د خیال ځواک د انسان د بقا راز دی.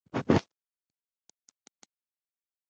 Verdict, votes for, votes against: rejected, 1, 2